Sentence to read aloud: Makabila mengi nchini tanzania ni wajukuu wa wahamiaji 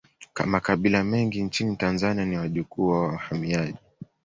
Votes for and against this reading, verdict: 1, 2, rejected